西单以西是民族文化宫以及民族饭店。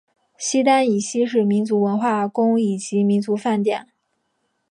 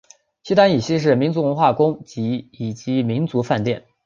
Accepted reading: first